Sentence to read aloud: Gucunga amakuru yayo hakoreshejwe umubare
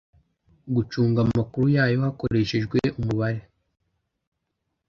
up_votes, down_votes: 2, 0